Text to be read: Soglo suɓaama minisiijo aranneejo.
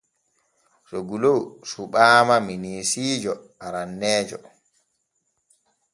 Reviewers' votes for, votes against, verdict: 2, 0, accepted